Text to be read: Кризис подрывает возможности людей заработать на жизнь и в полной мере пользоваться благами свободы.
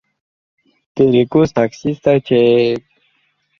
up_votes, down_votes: 0, 2